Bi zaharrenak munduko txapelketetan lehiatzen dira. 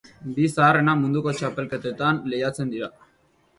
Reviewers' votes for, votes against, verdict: 2, 1, accepted